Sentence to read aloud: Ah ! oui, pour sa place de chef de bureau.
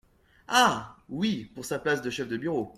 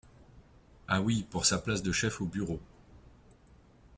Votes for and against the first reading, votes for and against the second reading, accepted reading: 2, 0, 1, 2, first